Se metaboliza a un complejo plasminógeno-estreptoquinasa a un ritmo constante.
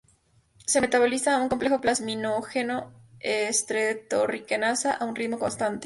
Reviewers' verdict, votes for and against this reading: rejected, 0, 4